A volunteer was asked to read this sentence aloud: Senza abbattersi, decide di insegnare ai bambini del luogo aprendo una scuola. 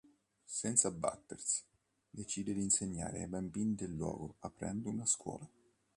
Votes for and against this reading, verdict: 3, 0, accepted